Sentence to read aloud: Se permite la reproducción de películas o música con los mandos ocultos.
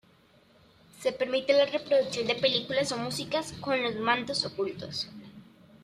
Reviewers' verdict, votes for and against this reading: accepted, 2, 0